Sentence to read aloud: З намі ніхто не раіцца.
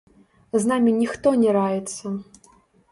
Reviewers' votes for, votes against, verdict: 0, 2, rejected